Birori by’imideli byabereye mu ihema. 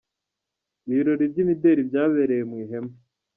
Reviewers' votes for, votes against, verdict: 1, 2, rejected